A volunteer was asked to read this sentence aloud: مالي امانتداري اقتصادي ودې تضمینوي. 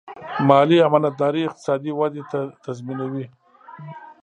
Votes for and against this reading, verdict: 0, 2, rejected